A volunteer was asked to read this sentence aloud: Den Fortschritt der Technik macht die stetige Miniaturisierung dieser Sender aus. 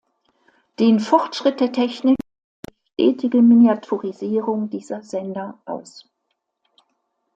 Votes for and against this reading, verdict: 1, 2, rejected